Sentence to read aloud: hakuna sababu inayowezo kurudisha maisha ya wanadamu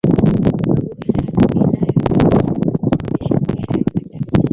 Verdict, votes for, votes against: rejected, 0, 2